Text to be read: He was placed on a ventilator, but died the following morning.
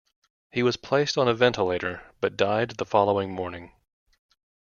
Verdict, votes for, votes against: rejected, 0, 2